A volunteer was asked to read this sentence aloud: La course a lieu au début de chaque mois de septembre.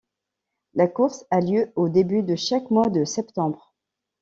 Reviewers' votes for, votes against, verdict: 2, 0, accepted